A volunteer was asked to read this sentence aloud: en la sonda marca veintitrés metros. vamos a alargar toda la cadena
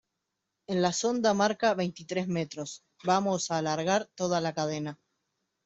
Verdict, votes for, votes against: accepted, 2, 0